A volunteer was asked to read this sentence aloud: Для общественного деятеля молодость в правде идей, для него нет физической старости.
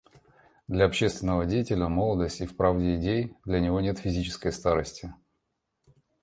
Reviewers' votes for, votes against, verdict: 0, 2, rejected